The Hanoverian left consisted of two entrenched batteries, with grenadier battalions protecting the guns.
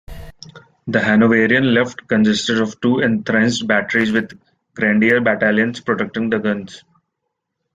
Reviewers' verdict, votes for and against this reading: accepted, 2, 0